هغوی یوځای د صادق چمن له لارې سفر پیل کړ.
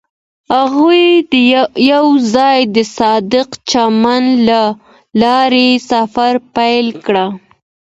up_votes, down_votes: 2, 1